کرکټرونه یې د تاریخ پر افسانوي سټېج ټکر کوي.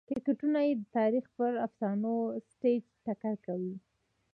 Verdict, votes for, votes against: rejected, 1, 2